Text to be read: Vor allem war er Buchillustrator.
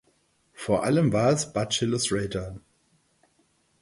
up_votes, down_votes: 0, 4